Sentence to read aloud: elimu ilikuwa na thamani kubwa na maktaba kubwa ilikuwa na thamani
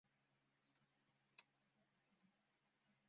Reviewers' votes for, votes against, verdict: 0, 2, rejected